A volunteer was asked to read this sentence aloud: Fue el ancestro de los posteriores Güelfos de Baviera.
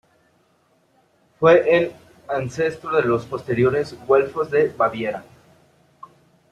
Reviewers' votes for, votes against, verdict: 2, 0, accepted